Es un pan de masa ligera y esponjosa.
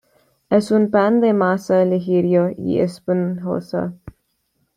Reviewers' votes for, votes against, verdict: 2, 0, accepted